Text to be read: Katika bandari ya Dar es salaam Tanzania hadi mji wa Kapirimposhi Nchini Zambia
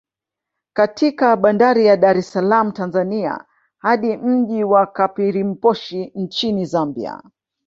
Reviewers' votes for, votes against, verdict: 2, 0, accepted